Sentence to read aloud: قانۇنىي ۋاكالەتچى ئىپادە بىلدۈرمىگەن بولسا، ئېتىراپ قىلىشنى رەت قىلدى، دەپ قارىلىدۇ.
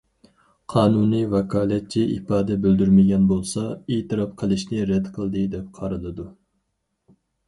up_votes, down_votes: 4, 0